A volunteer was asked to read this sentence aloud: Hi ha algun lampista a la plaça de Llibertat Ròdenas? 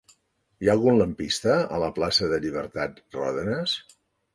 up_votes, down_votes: 2, 0